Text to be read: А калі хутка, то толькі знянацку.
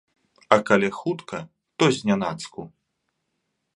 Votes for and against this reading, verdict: 0, 2, rejected